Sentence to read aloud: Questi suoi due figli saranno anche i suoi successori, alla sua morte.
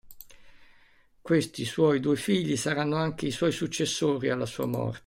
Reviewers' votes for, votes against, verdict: 1, 2, rejected